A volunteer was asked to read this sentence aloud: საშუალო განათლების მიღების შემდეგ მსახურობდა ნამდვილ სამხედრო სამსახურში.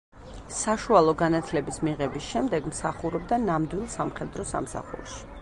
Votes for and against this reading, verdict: 2, 0, accepted